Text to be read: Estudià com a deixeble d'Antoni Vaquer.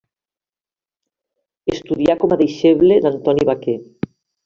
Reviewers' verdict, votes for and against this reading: accepted, 2, 0